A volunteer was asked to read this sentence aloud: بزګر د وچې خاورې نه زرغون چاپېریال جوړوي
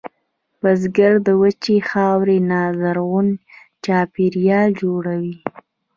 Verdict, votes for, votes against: rejected, 0, 2